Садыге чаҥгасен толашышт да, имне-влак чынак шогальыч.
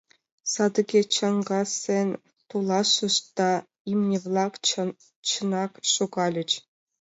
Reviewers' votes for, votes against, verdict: 1, 2, rejected